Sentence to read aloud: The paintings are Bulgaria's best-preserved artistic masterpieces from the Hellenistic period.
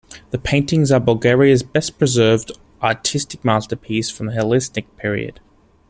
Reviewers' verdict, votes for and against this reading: rejected, 0, 2